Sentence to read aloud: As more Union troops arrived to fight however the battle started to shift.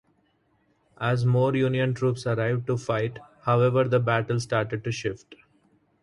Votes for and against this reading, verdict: 4, 0, accepted